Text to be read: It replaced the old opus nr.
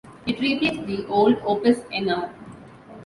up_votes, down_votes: 2, 0